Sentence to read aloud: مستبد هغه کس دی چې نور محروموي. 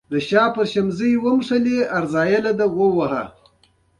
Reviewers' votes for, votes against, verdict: 0, 2, rejected